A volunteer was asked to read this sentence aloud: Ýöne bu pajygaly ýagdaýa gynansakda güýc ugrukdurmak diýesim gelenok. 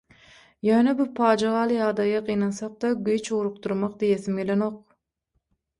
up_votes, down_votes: 6, 0